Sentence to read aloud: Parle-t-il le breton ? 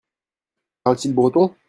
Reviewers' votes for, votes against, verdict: 0, 2, rejected